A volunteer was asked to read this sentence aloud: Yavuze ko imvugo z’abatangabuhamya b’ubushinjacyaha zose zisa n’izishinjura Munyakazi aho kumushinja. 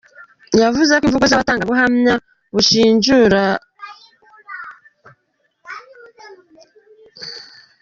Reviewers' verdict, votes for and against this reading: rejected, 0, 2